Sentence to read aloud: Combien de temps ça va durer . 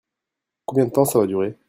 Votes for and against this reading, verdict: 1, 2, rejected